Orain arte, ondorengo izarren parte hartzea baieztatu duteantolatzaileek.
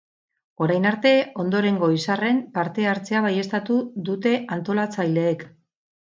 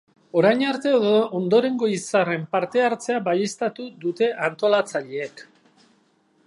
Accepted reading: first